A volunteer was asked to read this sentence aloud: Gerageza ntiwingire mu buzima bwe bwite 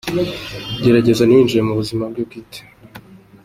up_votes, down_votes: 3, 2